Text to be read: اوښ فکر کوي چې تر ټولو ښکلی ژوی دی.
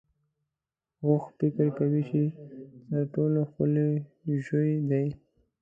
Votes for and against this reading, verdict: 2, 0, accepted